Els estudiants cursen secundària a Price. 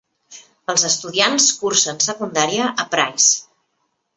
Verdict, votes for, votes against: accepted, 3, 0